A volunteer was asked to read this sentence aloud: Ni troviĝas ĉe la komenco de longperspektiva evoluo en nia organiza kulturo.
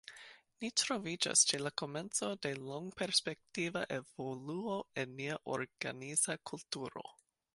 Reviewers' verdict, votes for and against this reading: rejected, 1, 2